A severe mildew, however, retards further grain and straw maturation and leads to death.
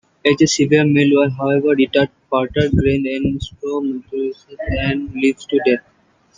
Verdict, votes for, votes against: rejected, 0, 2